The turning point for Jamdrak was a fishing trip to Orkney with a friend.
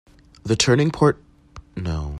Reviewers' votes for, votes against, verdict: 0, 2, rejected